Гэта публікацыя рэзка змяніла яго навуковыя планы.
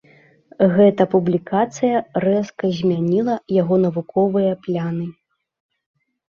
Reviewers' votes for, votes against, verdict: 0, 2, rejected